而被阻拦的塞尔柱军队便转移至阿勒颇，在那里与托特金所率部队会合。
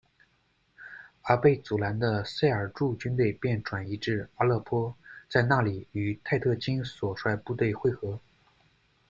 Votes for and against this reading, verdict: 0, 2, rejected